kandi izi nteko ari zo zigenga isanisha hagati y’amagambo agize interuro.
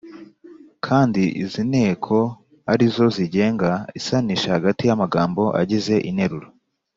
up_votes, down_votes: 2, 0